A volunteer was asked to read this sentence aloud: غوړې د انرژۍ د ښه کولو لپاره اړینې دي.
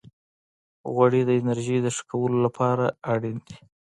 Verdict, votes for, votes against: accepted, 2, 1